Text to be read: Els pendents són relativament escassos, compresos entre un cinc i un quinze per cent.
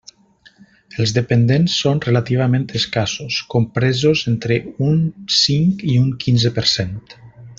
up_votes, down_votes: 0, 2